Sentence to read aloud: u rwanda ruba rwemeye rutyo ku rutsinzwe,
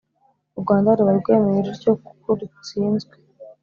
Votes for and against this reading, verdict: 3, 0, accepted